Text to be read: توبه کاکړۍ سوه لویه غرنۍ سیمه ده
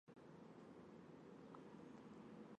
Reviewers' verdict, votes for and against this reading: accepted, 2, 1